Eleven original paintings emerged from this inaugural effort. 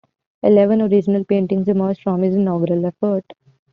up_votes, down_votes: 1, 2